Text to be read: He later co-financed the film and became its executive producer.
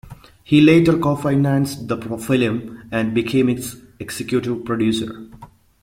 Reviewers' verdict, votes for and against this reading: rejected, 0, 2